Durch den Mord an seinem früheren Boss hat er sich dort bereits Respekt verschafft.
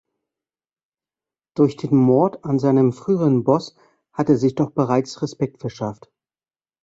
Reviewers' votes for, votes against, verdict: 1, 2, rejected